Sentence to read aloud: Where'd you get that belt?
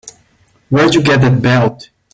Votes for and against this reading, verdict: 2, 1, accepted